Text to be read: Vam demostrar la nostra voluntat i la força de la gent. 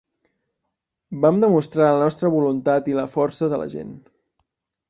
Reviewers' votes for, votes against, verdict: 2, 0, accepted